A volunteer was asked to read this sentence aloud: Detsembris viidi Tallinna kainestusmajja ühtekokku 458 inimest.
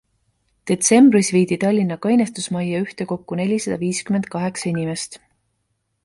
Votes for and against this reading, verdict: 0, 2, rejected